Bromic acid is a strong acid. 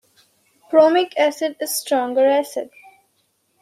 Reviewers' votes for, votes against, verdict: 0, 2, rejected